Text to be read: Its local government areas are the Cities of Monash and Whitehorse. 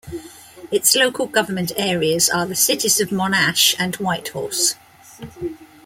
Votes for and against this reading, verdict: 2, 1, accepted